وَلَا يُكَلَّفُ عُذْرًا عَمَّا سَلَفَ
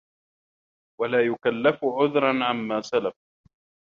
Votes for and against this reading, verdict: 1, 2, rejected